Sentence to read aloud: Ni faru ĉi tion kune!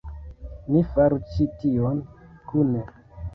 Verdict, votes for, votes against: rejected, 0, 2